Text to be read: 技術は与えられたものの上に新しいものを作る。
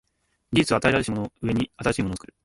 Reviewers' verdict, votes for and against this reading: rejected, 1, 2